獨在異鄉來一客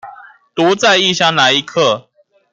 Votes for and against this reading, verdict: 2, 0, accepted